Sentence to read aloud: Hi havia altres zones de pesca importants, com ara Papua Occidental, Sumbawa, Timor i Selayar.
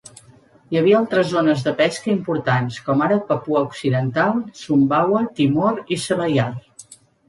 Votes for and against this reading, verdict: 2, 0, accepted